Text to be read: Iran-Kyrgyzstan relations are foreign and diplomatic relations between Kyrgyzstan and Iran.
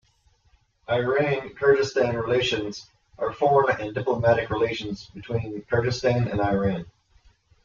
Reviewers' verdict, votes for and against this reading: rejected, 0, 2